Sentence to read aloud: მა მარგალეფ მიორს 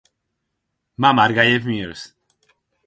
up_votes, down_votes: 0, 4